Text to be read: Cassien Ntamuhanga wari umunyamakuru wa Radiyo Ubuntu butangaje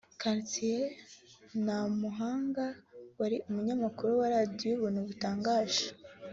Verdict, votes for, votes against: accepted, 3, 0